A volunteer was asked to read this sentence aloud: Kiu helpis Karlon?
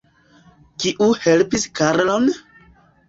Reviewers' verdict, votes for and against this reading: accepted, 2, 1